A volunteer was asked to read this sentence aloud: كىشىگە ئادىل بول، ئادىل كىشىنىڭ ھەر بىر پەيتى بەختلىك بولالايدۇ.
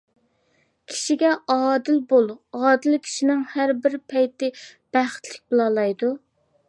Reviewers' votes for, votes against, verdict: 2, 1, accepted